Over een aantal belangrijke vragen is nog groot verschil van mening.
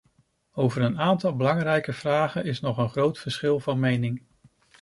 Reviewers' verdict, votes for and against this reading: rejected, 0, 2